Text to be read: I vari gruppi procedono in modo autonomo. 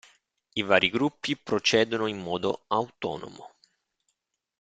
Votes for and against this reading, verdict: 2, 0, accepted